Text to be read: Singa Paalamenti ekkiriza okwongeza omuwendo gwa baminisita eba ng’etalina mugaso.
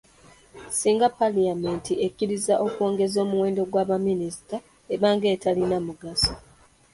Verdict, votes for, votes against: rejected, 1, 2